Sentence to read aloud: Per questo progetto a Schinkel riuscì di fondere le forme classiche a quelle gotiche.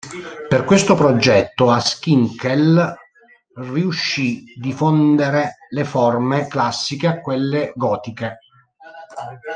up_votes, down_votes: 1, 2